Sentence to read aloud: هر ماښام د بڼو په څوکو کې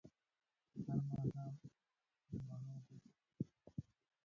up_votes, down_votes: 0, 2